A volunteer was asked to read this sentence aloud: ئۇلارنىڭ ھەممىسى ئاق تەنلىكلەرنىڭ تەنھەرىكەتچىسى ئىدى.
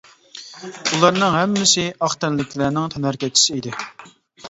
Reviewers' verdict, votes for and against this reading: accepted, 2, 1